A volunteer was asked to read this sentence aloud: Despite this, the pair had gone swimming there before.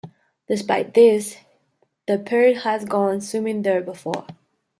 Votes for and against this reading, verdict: 2, 0, accepted